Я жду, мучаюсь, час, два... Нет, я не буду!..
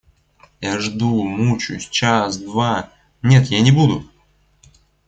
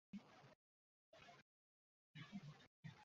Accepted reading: first